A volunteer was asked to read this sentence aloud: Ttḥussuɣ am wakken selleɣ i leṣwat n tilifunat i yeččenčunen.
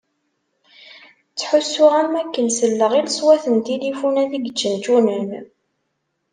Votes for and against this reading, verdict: 2, 0, accepted